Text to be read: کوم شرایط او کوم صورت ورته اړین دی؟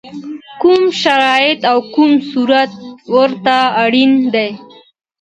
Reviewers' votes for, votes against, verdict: 2, 0, accepted